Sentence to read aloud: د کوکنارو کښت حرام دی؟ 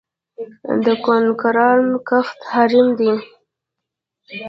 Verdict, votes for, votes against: rejected, 0, 2